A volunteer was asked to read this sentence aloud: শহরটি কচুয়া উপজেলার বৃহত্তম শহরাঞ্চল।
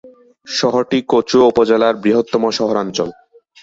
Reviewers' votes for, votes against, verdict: 2, 0, accepted